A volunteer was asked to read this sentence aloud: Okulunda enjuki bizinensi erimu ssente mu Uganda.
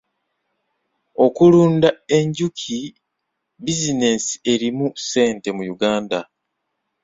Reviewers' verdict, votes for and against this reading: accepted, 3, 1